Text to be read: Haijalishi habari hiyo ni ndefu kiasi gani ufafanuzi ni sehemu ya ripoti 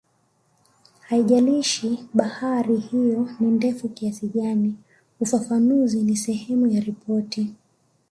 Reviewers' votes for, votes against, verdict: 2, 0, accepted